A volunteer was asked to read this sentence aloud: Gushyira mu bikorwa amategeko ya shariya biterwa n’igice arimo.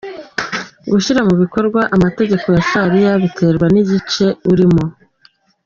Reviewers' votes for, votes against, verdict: 3, 2, accepted